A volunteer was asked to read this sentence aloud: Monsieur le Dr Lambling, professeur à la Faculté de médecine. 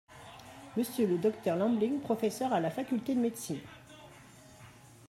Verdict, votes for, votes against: accepted, 2, 1